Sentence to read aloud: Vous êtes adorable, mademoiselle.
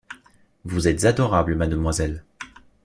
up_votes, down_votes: 2, 0